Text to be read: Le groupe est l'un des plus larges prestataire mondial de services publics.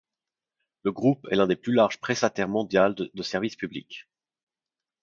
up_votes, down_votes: 0, 2